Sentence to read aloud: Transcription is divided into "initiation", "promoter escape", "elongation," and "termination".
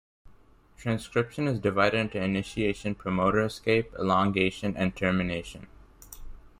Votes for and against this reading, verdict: 2, 0, accepted